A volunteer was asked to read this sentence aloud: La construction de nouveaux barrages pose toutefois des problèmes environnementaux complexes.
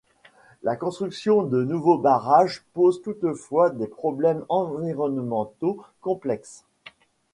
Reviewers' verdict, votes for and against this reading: accepted, 2, 0